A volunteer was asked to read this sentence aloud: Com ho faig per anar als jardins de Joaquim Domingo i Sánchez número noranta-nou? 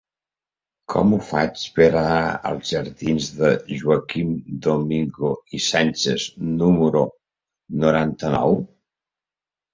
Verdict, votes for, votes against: accepted, 3, 0